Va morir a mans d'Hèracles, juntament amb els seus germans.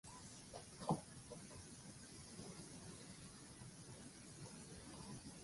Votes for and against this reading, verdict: 0, 2, rejected